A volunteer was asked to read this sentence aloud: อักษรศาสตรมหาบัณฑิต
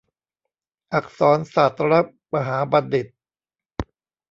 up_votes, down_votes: 1, 2